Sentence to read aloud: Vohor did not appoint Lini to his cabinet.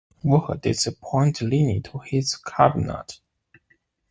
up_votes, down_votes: 1, 2